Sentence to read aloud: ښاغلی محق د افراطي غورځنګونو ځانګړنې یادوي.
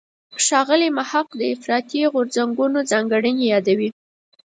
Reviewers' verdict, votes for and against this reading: accepted, 4, 0